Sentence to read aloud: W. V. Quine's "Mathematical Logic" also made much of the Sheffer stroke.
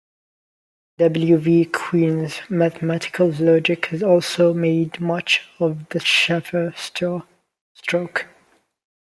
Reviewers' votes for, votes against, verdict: 1, 2, rejected